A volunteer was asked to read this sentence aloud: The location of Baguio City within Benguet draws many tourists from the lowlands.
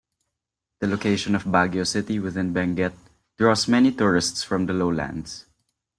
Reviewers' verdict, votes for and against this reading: accepted, 3, 0